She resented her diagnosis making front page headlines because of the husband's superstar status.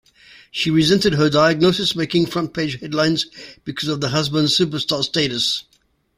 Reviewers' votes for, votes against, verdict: 2, 0, accepted